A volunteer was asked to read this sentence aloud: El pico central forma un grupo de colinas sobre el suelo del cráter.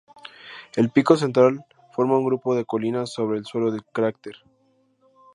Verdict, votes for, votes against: accepted, 2, 0